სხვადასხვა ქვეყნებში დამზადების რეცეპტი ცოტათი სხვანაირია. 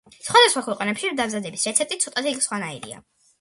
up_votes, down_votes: 2, 0